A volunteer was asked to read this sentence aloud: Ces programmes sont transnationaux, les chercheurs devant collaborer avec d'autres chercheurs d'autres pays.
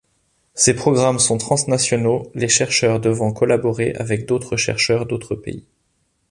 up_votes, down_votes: 2, 0